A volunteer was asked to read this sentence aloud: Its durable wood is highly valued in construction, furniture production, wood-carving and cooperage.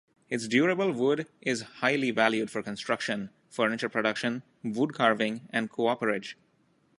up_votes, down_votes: 0, 2